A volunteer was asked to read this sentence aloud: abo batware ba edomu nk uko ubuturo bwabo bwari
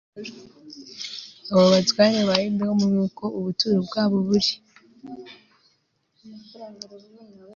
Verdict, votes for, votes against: rejected, 1, 2